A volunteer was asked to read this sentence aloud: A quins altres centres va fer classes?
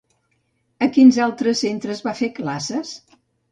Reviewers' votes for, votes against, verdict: 2, 0, accepted